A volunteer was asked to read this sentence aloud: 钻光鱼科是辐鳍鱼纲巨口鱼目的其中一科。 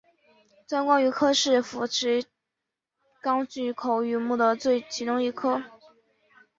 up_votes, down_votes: 6, 0